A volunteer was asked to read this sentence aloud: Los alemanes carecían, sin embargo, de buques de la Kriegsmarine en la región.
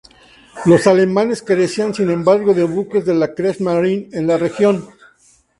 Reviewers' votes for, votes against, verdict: 2, 0, accepted